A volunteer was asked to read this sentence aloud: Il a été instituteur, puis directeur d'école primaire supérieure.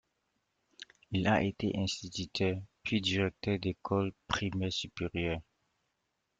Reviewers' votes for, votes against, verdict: 2, 0, accepted